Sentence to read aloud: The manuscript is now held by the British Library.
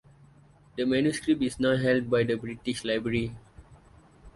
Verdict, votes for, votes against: accepted, 4, 0